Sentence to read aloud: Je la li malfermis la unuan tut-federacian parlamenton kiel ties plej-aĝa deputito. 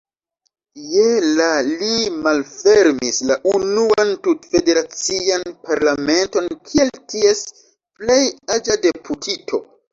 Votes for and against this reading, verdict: 2, 0, accepted